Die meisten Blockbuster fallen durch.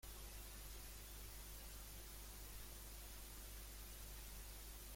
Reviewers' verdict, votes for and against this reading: rejected, 0, 2